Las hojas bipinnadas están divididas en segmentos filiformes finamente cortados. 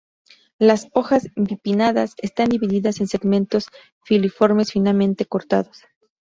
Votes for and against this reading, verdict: 2, 0, accepted